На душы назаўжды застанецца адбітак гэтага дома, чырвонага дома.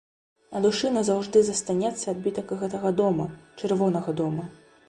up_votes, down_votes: 3, 0